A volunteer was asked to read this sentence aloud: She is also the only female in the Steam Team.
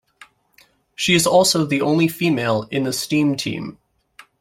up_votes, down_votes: 2, 0